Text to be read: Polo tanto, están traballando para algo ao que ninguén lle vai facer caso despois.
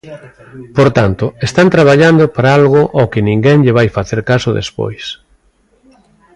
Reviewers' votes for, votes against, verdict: 0, 2, rejected